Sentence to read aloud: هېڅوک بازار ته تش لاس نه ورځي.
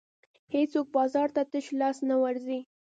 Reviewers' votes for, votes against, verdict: 1, 2, rejected